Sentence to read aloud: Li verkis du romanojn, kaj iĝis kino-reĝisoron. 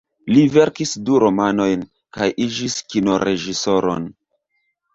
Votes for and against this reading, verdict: 0, 2, rejected